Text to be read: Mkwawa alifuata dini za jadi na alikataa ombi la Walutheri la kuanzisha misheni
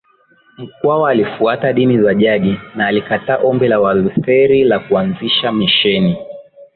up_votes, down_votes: 2, 0